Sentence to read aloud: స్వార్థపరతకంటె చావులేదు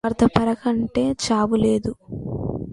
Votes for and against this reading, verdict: 0, 2, rejected